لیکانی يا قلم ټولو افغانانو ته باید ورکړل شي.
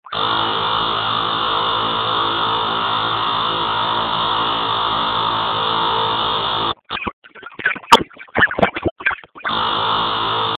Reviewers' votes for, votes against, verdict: 0, 2, rejected